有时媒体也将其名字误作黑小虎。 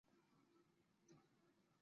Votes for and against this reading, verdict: 0, 3, rejected